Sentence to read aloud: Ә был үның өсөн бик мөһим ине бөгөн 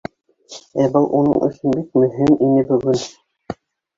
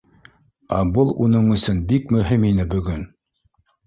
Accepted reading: second